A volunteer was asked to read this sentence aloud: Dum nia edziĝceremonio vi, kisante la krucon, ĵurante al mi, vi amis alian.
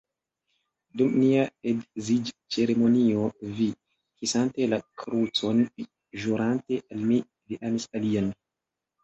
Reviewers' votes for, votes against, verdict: 0, 2, rejected